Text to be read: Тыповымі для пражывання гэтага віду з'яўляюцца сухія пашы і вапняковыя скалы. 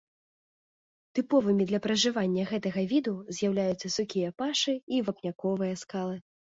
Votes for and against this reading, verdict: 2, 0, accepted